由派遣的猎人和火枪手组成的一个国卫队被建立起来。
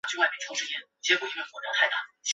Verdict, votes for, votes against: rejected, 0, 2